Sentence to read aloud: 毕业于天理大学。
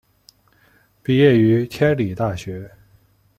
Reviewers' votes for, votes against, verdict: 2, 0, accepted